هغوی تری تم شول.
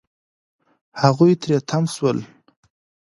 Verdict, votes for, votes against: accepted, 2, 0